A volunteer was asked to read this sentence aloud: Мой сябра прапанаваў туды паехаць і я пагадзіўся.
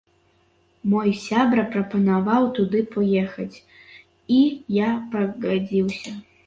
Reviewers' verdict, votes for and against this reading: accepted, 2, 1